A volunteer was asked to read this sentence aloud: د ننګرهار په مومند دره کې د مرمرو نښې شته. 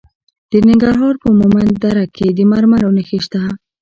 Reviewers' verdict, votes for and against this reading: accepted, 2, 1